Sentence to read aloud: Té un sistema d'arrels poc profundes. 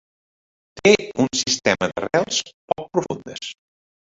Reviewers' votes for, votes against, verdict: 0, 2, rejected